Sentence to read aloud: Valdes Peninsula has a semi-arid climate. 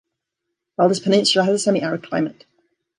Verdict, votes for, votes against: accepted, 2, 0